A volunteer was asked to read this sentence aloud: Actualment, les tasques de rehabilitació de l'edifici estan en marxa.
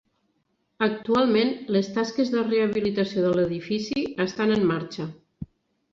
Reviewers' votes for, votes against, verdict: 3, 0, accepted